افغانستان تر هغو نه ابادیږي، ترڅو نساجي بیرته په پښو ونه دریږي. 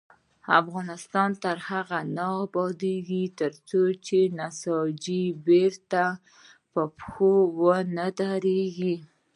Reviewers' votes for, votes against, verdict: 1, 2, rejected